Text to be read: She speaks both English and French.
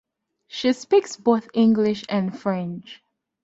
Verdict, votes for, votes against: accepted, 2, 0